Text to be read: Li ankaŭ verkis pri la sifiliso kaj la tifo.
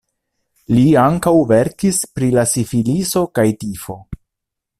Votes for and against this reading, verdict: 0, 2, rejected